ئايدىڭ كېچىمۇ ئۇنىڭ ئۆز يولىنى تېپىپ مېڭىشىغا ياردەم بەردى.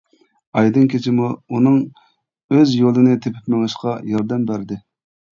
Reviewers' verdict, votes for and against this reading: rejected, 1, 2